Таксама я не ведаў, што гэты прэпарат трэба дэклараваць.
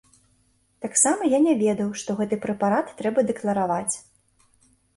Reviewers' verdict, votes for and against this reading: accepted, 3, 0